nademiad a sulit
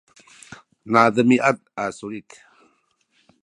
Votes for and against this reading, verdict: 0, 2, rejected